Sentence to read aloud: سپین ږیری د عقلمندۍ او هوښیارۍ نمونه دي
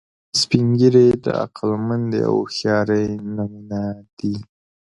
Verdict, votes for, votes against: rejected, 0, 2